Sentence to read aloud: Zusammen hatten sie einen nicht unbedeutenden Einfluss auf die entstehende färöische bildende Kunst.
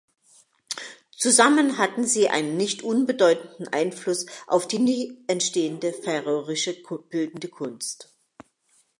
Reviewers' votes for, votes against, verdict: 0, 2, rejected